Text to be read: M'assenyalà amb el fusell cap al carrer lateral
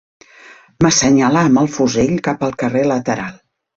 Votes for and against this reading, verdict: 3, 1, accepted